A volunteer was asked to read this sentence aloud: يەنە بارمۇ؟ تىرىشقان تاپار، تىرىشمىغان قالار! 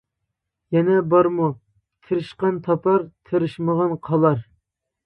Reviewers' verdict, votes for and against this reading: accepted, 2, 0